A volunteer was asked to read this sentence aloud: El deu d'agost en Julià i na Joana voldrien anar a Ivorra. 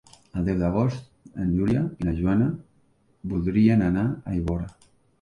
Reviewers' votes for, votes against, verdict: 3, 2, accepted